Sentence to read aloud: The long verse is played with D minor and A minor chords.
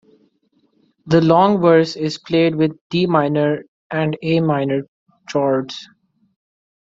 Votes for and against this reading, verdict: 1, 2, rejected